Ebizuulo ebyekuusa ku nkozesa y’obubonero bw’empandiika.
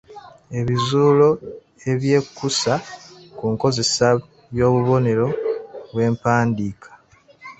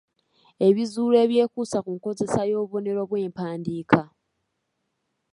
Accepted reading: second